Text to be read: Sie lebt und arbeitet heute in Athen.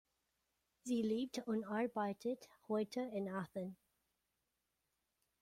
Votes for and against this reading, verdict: 1, 2, rejected